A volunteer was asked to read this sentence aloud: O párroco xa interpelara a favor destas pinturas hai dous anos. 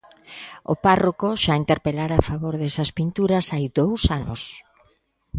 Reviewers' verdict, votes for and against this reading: rejected, 0, 2